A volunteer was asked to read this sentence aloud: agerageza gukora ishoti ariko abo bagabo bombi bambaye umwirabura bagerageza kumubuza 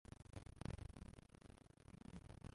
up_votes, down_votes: 0, 2